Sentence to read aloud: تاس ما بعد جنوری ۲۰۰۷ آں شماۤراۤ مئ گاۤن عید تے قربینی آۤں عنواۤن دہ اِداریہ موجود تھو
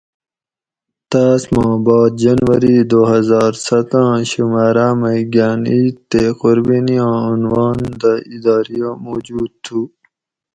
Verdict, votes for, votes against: rejected, 0, 2